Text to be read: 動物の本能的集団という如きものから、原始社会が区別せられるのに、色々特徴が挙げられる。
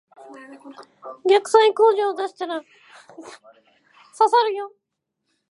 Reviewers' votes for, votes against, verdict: 0, 2, rejected